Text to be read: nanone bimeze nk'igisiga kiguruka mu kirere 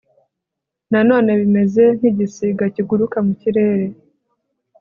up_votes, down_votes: 3, 0